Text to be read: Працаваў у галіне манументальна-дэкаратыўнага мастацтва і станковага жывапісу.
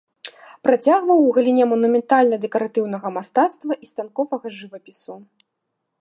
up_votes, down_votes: 0, 2